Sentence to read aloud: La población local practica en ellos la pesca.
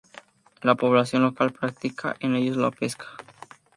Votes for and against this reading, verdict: 2, 0, accepted